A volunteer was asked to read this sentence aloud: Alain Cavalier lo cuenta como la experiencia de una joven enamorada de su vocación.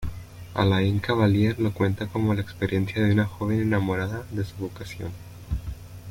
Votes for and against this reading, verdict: 2, 0, accepted